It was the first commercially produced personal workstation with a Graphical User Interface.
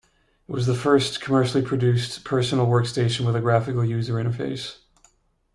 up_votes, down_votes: 2, 0